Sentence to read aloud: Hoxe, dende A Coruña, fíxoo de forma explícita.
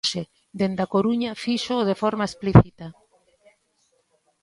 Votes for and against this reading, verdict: 1, 2, rejected